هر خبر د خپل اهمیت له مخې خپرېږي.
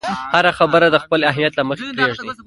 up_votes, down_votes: 0, 2